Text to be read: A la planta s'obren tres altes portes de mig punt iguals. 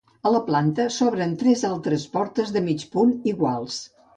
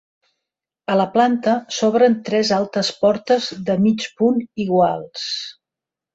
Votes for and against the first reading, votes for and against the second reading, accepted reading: 2, 2, 4, 0, second